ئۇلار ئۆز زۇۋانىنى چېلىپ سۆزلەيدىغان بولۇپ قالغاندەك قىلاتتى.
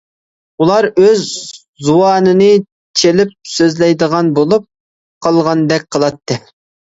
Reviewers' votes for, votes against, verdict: 2, 0, accepted